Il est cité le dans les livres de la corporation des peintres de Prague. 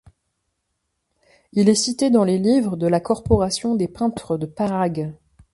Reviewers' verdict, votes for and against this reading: rejected, 1, 2